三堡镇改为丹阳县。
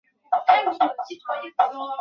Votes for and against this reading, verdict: 0, 2, rejected